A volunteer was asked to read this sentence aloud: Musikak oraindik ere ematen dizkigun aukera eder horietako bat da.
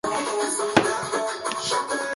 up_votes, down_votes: 0, 2